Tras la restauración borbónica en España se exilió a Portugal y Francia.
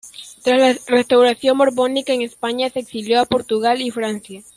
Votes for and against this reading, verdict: 0, 2, rejected